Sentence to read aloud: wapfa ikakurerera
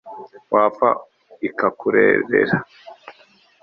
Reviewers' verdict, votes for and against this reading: accepted, 3, 0